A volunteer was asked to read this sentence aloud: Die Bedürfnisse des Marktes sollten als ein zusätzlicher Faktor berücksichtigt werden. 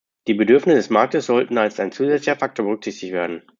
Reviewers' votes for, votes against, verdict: 0, 2, rejected